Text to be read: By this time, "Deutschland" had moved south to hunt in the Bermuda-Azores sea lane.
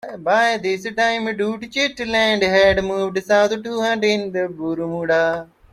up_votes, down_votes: 0, 2